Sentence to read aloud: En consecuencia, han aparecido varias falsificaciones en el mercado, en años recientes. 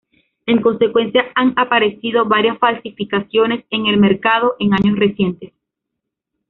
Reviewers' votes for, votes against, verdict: 2, 0, accepted